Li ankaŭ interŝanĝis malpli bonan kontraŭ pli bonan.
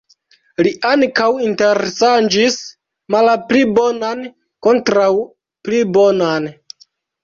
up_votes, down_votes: 0, 2